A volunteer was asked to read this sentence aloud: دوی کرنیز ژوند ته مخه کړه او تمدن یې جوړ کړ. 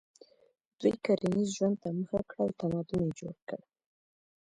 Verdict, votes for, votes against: rejected, 0, 2